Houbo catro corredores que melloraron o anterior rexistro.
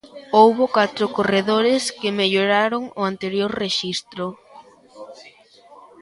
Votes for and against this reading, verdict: 1, 2, rejected